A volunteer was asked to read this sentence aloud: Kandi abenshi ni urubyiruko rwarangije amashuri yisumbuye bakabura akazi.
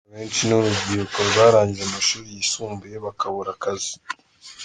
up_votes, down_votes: 2, 0